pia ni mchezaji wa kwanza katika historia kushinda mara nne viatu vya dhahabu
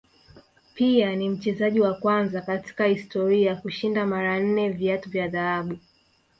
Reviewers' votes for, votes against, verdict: 1, 2, rejected